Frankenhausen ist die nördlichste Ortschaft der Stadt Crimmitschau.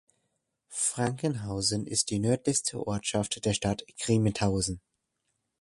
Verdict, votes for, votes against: rejected, 0, 2